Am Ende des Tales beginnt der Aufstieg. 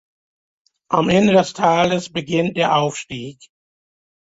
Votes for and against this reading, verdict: 2, 0, accepted